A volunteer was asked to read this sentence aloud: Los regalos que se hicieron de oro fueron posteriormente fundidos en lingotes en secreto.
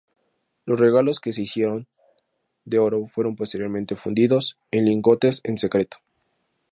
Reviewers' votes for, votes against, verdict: 2, 2, rejected